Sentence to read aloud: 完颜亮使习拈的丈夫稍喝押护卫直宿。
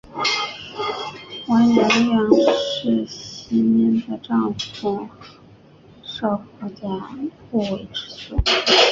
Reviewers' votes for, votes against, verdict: 0, 4, rejected